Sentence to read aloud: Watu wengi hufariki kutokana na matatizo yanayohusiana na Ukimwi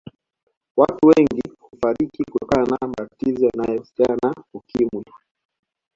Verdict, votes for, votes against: rejected, 1, 2